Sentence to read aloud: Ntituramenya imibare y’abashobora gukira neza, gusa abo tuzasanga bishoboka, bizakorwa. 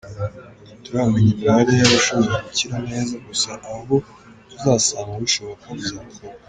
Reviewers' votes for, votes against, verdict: 2, 0, accepted